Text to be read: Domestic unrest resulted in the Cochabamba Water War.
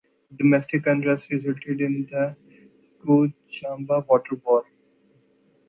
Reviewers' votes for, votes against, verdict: 0, 2, rejected